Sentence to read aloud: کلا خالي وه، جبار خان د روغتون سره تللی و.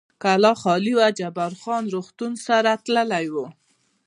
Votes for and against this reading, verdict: 2, 0, accepted